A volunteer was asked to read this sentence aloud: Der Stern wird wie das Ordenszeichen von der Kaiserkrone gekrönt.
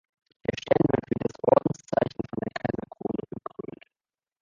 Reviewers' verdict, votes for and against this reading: accepted, 2, 0